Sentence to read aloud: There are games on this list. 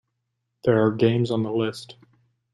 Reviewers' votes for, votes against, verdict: 1, 2, rejected